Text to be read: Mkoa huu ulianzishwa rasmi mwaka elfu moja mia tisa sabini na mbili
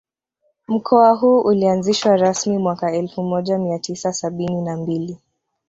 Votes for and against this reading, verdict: 1, 2, rejected